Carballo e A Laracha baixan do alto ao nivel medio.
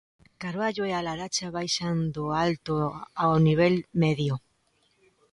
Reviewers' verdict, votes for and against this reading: accepted, 2, 0